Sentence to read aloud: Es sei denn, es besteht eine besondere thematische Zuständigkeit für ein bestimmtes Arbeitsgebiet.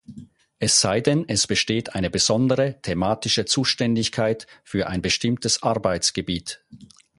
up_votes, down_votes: 4, 0